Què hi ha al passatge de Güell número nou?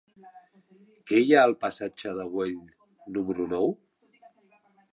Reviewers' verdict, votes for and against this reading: accepted, 2, 0